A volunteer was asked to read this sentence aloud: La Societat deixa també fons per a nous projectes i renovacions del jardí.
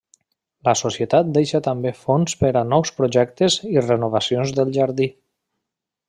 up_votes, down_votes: 3, 0